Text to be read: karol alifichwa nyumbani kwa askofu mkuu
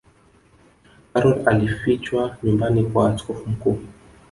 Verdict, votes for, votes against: accepted, 2, 1